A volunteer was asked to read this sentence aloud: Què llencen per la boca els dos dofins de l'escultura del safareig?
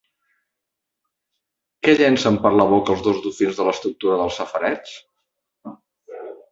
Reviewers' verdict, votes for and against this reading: rejected, 0, 2